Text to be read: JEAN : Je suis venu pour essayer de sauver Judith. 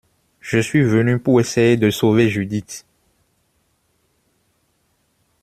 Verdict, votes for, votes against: rejected, 0, 2